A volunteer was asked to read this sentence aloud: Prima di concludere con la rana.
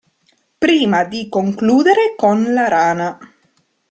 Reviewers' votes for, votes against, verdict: 2, 0, accepted